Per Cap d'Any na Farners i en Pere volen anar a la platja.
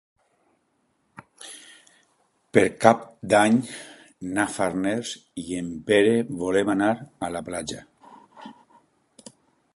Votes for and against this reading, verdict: 0, 2, rejected